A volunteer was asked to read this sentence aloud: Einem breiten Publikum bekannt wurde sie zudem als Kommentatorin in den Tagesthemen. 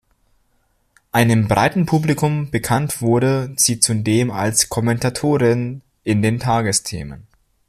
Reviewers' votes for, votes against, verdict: 2, 1, accepted